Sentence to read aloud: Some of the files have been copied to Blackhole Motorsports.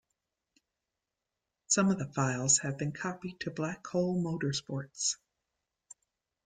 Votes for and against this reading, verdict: 2, 0, accepted